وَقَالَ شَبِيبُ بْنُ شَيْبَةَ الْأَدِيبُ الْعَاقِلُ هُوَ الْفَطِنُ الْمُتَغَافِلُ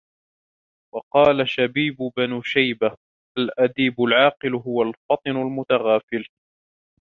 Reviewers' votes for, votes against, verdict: 1, 2, rejected